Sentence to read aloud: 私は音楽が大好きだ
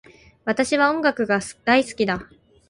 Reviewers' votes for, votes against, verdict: 0, 6, rejected